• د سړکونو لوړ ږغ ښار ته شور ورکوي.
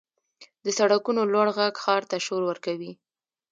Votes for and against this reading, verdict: 1, 2, rejected